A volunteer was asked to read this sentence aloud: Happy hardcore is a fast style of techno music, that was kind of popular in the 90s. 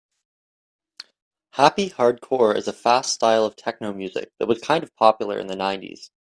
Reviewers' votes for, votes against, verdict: 0, 2, rejected